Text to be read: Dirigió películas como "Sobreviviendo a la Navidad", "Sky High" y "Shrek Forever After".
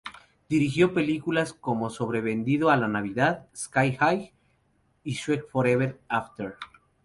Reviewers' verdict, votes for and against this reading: rejected, 0, 4